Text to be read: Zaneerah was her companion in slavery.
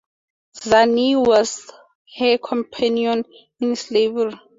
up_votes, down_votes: 0, 2